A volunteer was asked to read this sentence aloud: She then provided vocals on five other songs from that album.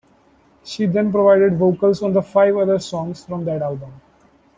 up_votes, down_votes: 2, 1